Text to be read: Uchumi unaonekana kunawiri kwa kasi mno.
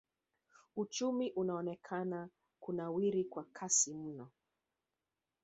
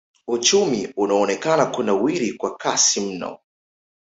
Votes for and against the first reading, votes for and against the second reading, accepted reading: 1, 2, 2, 1, second